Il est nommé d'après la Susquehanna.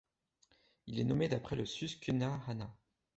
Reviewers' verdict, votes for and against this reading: rejected, 0, 2